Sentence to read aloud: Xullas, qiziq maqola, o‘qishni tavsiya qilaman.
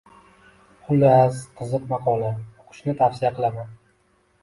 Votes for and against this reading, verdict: 2, 0, accepted